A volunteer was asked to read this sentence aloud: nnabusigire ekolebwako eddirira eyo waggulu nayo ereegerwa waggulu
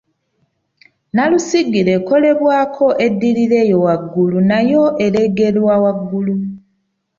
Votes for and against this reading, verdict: 2, 1, accepted